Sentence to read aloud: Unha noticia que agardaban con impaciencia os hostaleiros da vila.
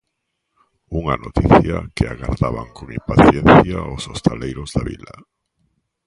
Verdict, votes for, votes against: accepted, 2, 0